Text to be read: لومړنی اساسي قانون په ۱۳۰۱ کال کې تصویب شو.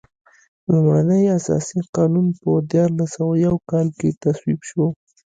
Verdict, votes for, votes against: rejected, 0, 2